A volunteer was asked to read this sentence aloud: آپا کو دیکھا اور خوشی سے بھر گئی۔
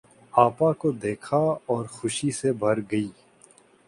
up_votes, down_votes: 2, 0